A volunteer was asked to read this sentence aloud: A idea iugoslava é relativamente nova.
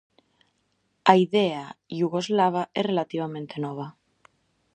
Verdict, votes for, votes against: accepted, 2, 0